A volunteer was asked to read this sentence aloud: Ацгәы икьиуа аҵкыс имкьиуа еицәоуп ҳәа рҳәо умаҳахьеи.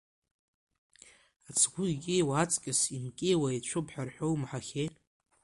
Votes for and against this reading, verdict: 2, 1, accepted